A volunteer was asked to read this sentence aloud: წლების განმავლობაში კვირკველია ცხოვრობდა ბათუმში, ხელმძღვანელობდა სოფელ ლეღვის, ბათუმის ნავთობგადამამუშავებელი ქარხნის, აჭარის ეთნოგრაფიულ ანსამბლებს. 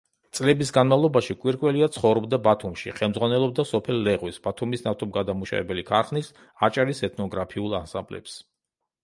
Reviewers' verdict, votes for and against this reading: rejected, 0, 2